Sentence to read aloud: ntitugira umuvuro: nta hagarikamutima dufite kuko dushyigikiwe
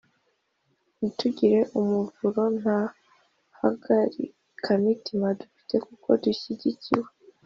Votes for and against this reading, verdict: 2, 0, accepted